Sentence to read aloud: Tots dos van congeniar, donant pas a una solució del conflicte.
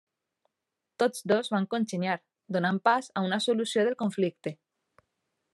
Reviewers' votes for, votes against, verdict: 2, 0, accepted